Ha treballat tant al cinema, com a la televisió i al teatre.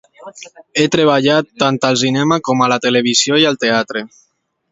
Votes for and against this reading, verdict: 2, 1, accepted